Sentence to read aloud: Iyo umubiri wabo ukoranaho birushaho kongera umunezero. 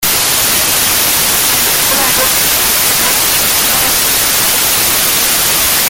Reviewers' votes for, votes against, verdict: 0, 2, rejected